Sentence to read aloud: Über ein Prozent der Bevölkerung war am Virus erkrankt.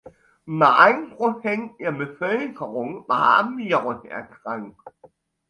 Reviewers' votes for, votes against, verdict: 1, 2, rejected